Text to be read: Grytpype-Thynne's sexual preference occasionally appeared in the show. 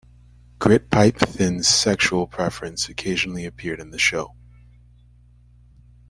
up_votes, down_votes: 2, 0